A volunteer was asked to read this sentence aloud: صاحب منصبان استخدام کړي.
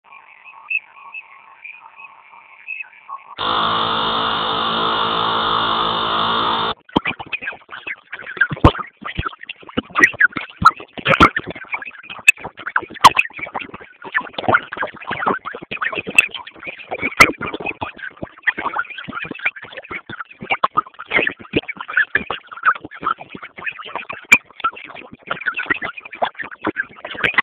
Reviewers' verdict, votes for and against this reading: rejected, 0, 2